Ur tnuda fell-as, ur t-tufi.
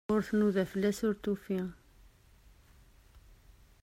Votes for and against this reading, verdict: 2, 1, accepted